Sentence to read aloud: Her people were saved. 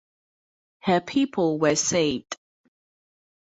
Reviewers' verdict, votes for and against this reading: rejected, 2, 2